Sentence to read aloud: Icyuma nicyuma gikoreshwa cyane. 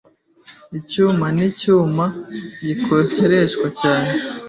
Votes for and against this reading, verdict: 1, 2, rejected